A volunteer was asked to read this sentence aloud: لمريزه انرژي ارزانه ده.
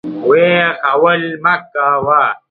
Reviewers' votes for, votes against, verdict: 0, 2, rejected